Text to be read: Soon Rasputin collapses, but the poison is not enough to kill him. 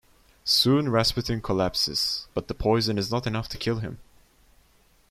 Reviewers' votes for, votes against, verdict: 2, 1, accepted